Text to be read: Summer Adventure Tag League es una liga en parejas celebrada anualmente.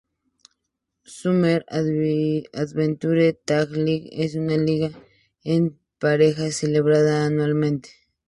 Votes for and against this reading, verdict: 2, 0, accepted